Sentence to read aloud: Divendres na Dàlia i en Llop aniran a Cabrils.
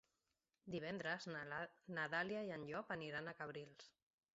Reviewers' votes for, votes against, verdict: 0, 2, rejected